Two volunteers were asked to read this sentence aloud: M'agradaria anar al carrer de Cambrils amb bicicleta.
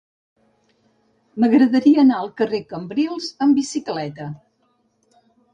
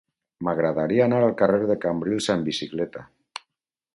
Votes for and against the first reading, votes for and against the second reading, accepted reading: 2, 4, 4, 0, second